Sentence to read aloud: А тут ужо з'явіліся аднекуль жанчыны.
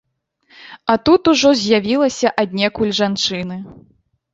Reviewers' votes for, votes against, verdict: 0, 2, rejected